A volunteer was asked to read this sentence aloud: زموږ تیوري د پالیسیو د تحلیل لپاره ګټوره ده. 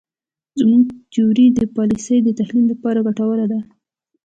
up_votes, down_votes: 2, 0